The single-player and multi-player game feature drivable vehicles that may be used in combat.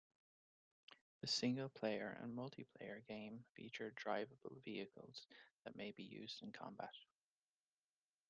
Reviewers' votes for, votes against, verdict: 2, 0, accepted